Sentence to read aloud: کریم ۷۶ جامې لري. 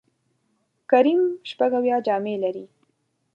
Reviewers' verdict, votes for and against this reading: rejected, 0, 2